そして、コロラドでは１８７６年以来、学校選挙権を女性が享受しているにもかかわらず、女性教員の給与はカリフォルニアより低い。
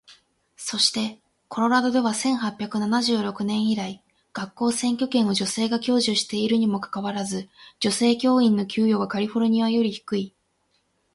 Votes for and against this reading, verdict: 0, 2, rejected